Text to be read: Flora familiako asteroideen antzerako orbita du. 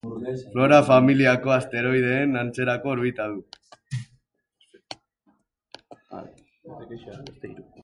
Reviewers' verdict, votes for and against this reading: rejected, 0, 2